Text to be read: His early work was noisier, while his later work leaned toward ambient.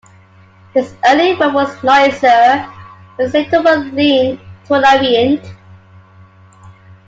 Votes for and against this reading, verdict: 0, 2, rejected